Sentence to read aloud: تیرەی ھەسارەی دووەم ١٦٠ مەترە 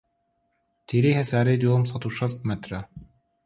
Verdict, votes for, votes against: rejected, 0, 2